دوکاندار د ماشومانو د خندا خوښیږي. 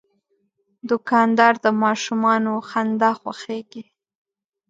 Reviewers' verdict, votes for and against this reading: accepted, 2, 1